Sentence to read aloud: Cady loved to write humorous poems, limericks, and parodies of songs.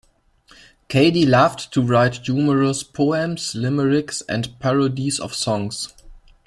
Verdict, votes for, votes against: accepted, 2, 1